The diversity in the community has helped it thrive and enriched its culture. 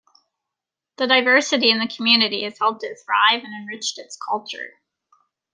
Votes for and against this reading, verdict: 2, 0, accepted